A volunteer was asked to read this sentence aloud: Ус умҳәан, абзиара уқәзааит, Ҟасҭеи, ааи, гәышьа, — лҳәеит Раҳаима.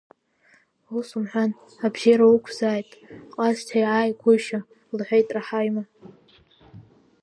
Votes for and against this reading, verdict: 0, 2, rejected